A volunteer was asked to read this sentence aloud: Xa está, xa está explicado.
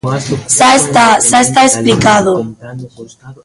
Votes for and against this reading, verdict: 1, 4, rejected